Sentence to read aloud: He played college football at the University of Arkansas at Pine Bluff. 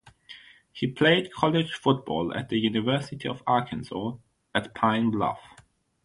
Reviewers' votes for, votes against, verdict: 3, 0, accepted